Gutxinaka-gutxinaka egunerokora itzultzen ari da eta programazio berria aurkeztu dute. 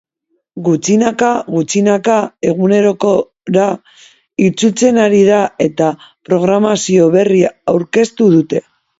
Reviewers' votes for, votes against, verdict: 0, 2, rejected